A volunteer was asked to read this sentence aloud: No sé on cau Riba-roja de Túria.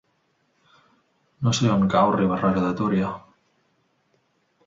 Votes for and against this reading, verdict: 2, 0, accepted